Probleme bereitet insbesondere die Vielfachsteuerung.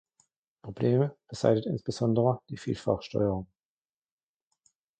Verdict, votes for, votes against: rejected, 0, 2